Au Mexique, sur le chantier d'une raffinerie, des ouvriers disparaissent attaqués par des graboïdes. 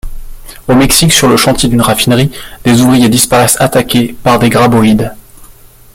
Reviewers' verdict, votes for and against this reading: accepted, 2, 0